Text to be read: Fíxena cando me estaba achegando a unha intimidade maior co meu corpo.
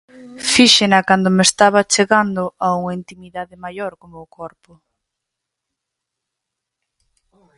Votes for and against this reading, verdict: 4, 0, accepted